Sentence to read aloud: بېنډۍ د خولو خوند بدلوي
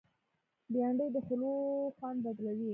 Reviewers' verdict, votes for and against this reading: rejected, 0, 2